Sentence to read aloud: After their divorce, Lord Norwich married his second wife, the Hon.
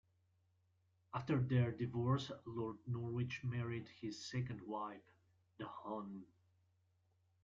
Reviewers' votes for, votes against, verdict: 0, 2, rejected